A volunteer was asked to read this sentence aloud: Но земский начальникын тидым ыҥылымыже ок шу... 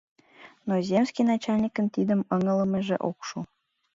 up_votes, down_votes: 2, 0